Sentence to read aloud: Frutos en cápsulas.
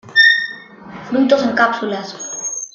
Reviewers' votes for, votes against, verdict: 1, 2, rejected